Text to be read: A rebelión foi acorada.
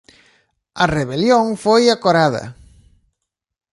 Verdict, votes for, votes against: accepted, 2, 0